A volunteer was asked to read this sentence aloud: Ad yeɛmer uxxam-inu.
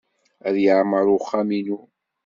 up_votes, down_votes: 1, 2